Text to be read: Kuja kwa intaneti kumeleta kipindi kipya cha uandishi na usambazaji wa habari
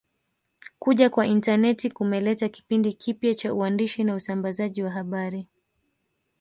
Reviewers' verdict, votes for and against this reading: rejected, 0, 2